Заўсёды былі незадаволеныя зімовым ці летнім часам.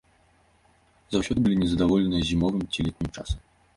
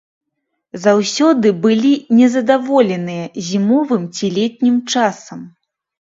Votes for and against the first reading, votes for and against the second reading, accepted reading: 1, 2, 2, 0, second